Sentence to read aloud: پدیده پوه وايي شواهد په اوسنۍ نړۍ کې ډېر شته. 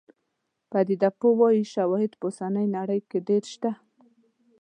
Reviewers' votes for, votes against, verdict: 2, 1, accepted